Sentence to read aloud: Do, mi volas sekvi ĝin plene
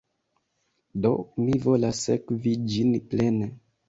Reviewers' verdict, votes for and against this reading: accepted, 2, 0